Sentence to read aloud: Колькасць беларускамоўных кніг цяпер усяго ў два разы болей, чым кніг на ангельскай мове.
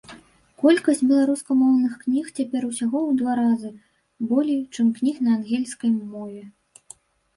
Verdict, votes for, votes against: rejected, 1, 2